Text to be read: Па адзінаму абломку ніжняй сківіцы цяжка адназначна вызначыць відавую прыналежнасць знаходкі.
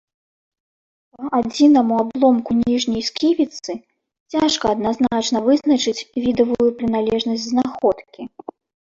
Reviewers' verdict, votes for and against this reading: rejected, 1, 2